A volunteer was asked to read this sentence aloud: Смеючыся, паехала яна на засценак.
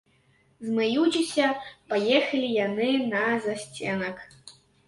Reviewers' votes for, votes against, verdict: 0, 3, rejected